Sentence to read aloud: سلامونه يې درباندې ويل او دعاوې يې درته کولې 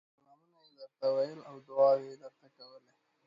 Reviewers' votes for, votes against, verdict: 1, 2, rejected